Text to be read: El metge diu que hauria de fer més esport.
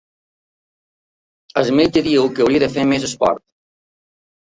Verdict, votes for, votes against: accepted, 2, 0